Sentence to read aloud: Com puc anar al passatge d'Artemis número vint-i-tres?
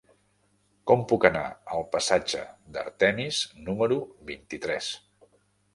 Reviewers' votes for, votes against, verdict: 3, 0, accepted